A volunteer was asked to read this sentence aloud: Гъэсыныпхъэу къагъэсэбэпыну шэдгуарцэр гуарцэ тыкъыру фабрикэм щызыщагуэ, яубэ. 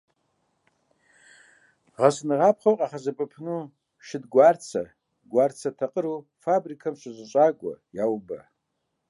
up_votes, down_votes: 1, 2